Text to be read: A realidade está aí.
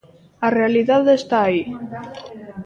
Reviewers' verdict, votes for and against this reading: accepted, 2, 1